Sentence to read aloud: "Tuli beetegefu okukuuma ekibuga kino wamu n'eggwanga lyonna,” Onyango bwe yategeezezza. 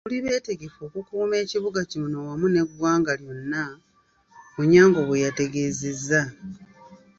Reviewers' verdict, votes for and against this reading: rejected, 1, 2